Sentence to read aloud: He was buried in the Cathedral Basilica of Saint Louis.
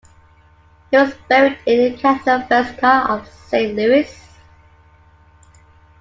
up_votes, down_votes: 2, 1